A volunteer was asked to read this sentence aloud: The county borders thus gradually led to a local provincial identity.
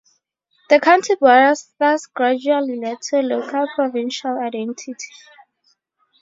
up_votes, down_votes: 0, 2